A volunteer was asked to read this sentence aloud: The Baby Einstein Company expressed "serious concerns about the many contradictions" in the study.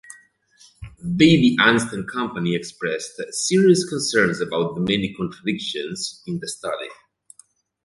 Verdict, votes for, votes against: rejected, 1, 2